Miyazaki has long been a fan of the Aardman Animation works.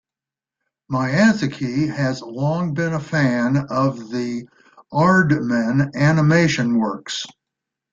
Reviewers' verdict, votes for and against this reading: rejected, 1, 2